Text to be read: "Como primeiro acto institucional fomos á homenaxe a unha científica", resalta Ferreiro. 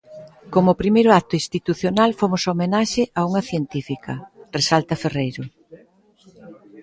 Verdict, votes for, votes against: rejected, 1, 2